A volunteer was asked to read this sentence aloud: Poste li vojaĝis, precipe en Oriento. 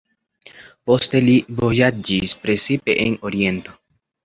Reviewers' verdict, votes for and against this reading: accepted, 2, 0